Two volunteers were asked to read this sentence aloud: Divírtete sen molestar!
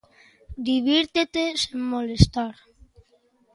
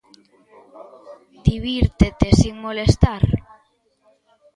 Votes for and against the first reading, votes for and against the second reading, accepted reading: 2, 0, 0, 2, first